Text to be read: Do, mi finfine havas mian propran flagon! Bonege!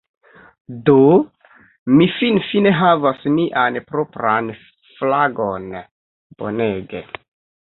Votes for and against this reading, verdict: 3, 2, accepted